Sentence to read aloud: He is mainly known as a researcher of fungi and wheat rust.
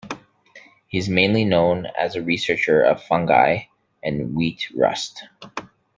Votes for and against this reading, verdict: 2, 0, accepted